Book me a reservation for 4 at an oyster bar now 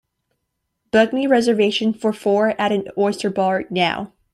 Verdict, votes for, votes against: rejected, 0, 2